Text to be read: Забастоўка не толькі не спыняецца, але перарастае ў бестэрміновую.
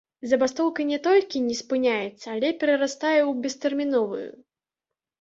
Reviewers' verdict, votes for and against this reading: accepted, 2, 1